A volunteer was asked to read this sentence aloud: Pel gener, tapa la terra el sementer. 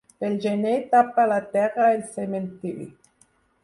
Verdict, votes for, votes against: rejected, 0, 4